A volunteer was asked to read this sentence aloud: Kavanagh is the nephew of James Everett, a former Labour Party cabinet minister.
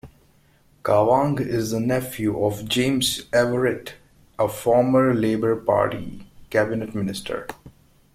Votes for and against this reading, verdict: 1, 2, rejected